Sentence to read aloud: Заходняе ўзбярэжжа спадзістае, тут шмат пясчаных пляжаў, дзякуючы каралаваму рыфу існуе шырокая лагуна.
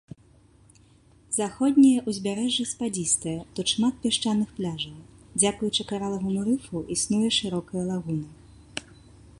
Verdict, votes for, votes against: rejected, 1, 2